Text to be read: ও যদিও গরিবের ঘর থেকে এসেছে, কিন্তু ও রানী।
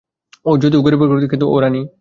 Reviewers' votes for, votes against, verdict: 0, 2, rejected